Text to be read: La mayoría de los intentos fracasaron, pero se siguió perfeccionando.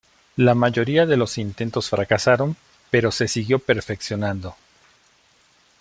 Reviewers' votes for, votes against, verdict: 1, 2, rejected